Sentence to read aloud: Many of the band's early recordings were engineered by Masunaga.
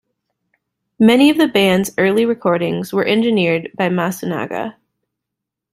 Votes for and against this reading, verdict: 2, 0, accepted